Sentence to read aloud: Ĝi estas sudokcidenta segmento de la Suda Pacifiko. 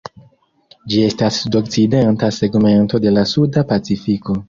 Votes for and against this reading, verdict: 1, 2, rejected